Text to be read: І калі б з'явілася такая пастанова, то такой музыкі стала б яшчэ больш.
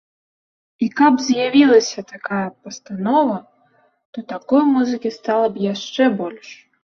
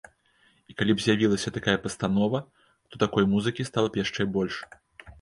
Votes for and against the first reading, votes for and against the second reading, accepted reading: 0, 2, 2, 0, second